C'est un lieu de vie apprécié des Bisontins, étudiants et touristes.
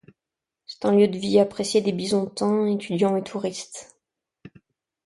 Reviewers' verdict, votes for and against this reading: accepted, 2, 1